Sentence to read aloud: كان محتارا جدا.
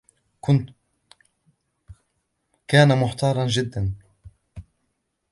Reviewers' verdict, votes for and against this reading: rejected, 1, 2